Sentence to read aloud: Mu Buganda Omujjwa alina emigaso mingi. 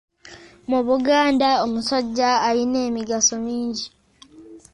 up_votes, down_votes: 1, 2